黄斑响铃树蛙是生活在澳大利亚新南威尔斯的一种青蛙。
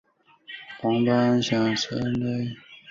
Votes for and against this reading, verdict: 0, 3, rejected